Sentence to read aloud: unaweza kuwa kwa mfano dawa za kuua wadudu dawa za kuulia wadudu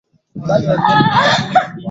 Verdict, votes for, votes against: rejected, 0, 11